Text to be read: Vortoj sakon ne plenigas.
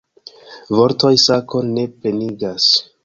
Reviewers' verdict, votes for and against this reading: rejected, 1, 2